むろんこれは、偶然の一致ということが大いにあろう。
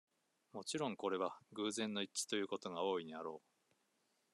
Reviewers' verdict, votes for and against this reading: rejected, 1, 2